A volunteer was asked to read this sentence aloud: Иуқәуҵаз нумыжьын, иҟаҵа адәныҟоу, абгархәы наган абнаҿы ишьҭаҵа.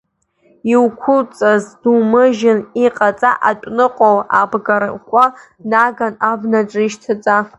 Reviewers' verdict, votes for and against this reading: rejected, 0, 2